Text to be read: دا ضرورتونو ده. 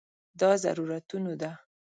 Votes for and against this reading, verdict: 7, 0, accepted